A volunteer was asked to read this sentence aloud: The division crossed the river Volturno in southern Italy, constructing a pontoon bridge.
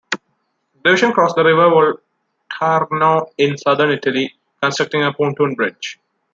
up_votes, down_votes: 0, 2